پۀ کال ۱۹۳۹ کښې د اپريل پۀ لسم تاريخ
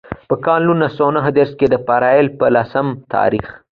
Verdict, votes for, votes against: rejected, 0, 2